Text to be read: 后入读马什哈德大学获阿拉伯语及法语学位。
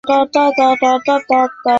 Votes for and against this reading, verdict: 1, 4, rejected